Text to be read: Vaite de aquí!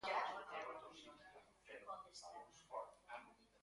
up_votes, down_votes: 0, 2